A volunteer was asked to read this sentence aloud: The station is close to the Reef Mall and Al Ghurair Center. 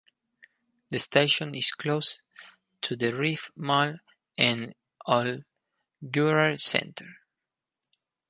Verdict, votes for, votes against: rejected, 0, 4